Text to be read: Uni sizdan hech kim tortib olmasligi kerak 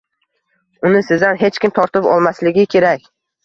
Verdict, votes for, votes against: accepted, 2, 0